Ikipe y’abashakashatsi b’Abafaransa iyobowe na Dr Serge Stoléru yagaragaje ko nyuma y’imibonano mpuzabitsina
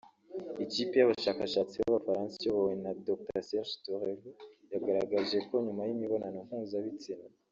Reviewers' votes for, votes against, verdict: 0, 2, rejected